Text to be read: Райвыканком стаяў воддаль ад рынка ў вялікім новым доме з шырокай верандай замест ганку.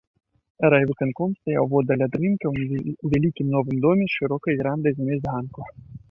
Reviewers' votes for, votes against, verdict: 0, 2, rejected